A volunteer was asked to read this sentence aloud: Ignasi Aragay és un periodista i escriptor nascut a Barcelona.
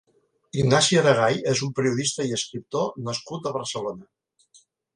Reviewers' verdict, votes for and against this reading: accepted, 2, 0